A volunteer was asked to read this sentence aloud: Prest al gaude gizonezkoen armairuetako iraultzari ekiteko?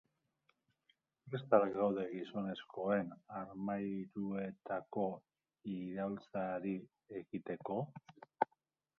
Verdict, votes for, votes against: rejected, 0, 3